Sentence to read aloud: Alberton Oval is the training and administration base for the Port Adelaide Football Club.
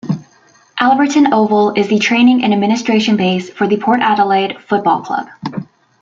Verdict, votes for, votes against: rejected, 1, 2